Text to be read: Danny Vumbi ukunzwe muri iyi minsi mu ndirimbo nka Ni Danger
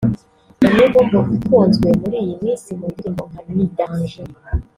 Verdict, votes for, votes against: rejected, 1, 2